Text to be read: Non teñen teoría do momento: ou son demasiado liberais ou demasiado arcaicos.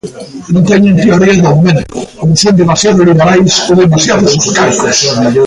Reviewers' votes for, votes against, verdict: 0, 2, rejected